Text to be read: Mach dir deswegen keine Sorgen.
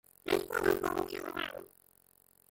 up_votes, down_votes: 0, 2